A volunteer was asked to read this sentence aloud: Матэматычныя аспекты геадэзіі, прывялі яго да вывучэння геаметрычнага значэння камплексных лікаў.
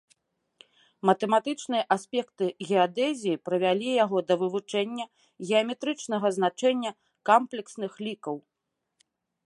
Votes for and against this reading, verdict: 1, 2, rejected